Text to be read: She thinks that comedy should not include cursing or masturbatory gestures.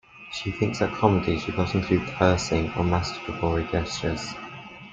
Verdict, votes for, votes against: accepted, 2, 0